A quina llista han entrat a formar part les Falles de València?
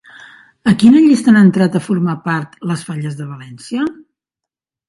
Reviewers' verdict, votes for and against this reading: rejected, 1, 2